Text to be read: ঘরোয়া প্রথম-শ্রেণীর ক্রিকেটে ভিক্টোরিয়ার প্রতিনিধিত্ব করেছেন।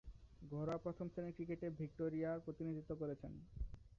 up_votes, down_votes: 0, 2